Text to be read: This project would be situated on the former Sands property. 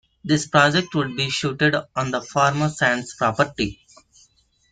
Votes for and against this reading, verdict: 0, 2, rejected